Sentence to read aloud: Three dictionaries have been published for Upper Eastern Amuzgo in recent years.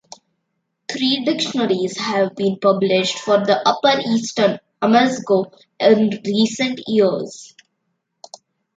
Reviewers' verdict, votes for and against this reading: rejected, 0, 2